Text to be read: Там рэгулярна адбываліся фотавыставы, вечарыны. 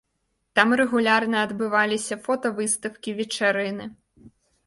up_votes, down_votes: 0, 2